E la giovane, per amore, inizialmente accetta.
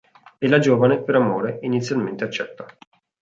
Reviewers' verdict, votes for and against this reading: accepted, 3, 0